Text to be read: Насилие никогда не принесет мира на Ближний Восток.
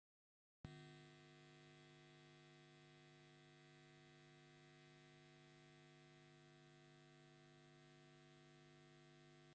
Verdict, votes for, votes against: rejected, 0, 2